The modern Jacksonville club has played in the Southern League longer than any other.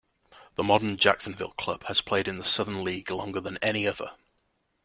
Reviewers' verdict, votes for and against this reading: accepted, 2, 0